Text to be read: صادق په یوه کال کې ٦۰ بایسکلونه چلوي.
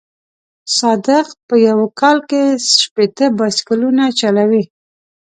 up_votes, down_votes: 0, 2